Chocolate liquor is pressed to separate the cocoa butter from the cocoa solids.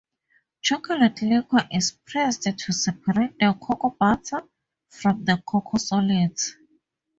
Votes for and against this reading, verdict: 2, 0, accepted